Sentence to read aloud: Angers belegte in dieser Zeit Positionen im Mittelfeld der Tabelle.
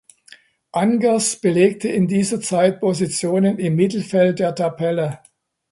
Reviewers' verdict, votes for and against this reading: accepted, 2, 0